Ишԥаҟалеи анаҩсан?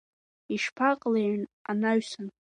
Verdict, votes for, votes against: rejected, 1, 2